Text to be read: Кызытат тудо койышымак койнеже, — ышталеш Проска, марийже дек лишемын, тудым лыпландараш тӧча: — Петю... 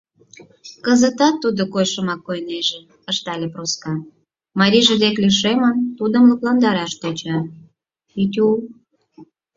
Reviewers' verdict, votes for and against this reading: accepted, 4, 0